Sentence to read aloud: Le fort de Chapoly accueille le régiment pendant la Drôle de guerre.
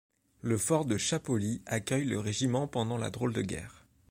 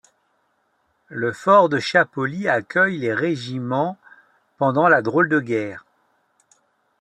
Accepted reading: first